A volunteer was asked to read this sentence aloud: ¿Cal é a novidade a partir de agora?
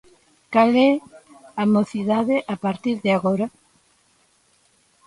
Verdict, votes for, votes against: rejected, 0, 2